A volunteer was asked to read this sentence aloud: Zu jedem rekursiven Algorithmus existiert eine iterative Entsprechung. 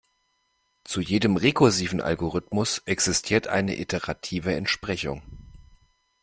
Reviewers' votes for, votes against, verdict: 2, 0, accepted